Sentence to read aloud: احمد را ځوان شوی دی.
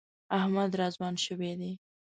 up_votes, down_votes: 2, 0